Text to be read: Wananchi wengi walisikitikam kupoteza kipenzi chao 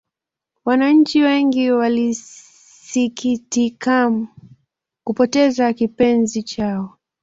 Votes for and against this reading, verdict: 1, 2, rejected